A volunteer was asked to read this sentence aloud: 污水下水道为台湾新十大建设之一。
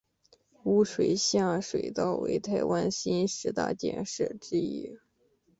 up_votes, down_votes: 4, 0